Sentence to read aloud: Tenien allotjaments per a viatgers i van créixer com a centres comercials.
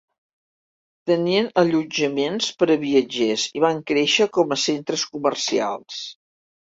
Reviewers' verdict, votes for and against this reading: accepted, 2, 0